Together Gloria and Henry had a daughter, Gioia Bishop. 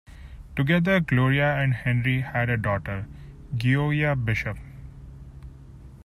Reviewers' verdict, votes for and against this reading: accepted, 2, 0